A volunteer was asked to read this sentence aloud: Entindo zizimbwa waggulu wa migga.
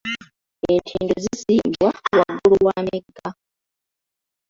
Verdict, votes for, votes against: rejected, 0, 2